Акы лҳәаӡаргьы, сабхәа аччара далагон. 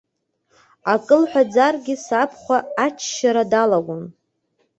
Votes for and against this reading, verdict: 2, 1, accepted